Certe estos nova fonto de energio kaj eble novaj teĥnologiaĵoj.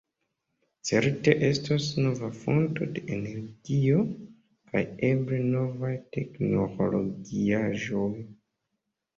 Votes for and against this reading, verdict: 0, 3, rejected